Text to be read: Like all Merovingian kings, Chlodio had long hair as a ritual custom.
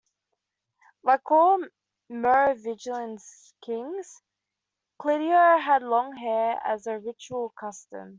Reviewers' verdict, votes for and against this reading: rejected, 1, 2